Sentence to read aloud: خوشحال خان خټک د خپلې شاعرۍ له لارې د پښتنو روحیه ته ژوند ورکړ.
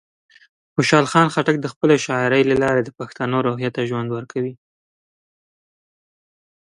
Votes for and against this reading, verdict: 1, 2, rejected